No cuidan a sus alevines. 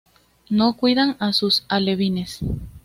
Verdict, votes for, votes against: accepted, 2, 0